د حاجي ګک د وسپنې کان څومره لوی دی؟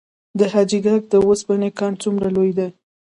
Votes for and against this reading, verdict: 2, 0, accepted